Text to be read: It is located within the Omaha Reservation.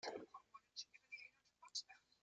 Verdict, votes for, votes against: rejected, 0, 2